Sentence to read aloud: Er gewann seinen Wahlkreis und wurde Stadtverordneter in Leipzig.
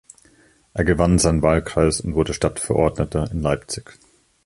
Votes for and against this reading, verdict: 2, 1, accepted